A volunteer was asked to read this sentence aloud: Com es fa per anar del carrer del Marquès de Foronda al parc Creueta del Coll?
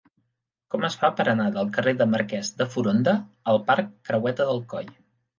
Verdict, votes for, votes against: accepted, 2, 0